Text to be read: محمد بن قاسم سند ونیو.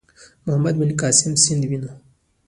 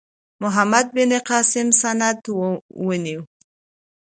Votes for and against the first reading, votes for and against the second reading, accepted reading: 2, 0, 1, 2, first